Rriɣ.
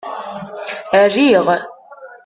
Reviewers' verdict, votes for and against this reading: rejected, 1, 2